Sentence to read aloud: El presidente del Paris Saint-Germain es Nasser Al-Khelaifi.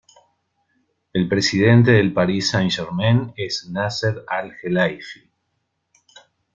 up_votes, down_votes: 0, 2